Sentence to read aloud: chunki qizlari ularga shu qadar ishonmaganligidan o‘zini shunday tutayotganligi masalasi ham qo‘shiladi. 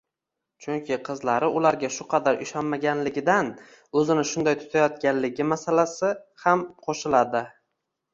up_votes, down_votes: 2, 1